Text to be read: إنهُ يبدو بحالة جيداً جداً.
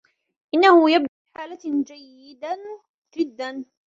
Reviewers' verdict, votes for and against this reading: rejected, 1, 2